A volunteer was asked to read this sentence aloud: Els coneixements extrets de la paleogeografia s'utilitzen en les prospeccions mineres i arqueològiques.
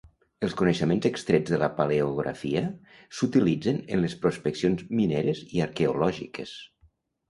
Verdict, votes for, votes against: rejected, 1, 2